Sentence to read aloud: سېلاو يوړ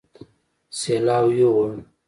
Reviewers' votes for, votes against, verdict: 2, 0, accepted